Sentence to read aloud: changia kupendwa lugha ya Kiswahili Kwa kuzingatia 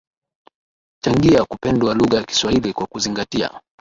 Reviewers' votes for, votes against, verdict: 8, 5, accepted